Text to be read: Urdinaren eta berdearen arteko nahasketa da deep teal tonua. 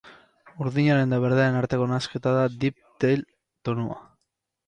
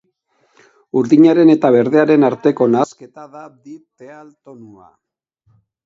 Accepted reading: first